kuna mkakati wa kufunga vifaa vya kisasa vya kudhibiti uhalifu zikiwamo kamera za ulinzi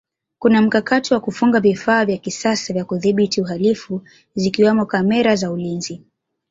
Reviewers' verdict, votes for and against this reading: accepted, 2, 0